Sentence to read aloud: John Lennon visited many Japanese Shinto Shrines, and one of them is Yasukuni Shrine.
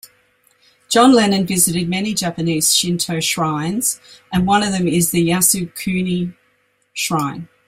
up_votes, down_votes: 1, 2